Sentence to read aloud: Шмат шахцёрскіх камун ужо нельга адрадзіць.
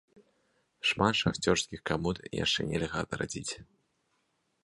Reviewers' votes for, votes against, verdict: 0, 2, rejected